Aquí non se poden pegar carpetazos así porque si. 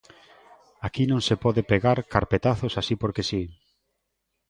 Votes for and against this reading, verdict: 1, 2, rejected